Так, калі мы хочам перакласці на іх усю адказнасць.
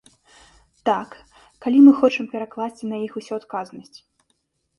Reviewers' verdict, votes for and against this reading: accepted, 2, 0